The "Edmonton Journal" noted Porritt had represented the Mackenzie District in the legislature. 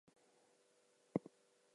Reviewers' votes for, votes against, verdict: 2, 0, accepted